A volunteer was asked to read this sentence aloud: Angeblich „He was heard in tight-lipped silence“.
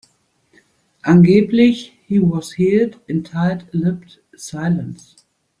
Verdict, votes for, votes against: rejected, 0, 2